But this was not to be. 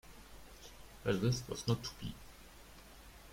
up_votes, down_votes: 1, 2